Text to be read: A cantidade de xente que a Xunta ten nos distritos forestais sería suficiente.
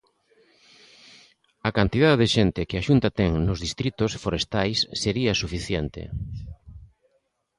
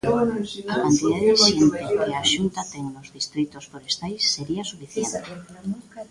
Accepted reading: first